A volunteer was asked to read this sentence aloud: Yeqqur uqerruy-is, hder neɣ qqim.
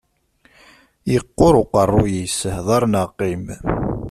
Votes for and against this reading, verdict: 2, 0, accepted